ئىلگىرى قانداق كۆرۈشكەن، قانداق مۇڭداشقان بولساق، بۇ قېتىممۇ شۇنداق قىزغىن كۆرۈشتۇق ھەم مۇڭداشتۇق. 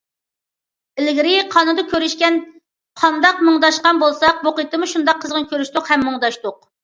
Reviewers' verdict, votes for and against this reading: rejected, 0, 2